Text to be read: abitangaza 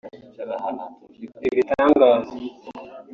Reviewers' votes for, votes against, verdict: 1, 2, rejected